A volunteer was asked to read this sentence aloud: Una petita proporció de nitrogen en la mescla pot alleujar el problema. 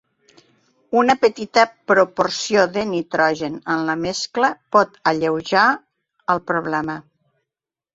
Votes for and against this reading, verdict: 2, 0, accepted